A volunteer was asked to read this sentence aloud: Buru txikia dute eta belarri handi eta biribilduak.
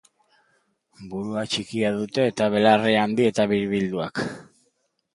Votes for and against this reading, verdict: 0, 2, rejected